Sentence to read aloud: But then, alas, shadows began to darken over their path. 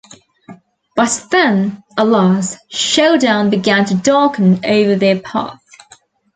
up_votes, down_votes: 0, 2